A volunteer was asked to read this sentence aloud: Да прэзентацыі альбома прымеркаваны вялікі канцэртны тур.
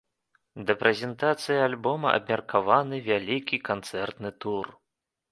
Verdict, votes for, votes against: rejected, 1, 2